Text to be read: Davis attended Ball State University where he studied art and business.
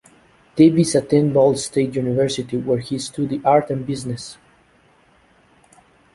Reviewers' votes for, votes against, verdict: 0, 2, rejected